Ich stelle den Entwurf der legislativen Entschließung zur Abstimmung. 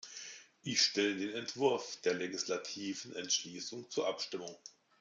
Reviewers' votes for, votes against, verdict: 2, 1, accepted